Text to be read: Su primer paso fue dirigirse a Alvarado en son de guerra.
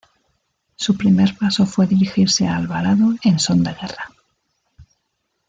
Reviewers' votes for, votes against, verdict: 2, 0, accepted